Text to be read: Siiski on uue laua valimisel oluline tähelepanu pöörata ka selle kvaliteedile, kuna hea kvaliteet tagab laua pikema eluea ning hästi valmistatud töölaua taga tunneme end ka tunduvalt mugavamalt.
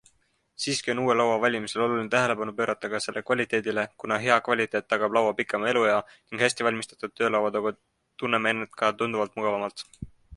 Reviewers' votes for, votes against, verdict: 2, 0, accepted